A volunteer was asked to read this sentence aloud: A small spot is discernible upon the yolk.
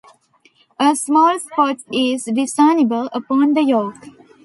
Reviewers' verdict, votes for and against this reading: accepted, 2, 0